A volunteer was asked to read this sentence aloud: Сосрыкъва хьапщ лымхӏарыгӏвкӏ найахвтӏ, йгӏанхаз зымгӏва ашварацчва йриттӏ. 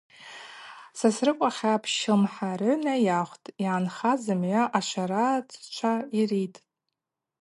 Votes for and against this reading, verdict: 4, 0, accepted